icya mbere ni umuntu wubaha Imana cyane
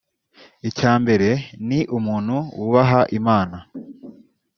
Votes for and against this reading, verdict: 1, 2, rejected